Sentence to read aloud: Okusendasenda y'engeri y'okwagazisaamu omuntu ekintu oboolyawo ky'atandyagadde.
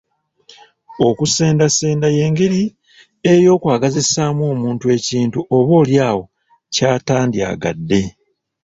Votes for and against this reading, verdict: 0, 2, rejected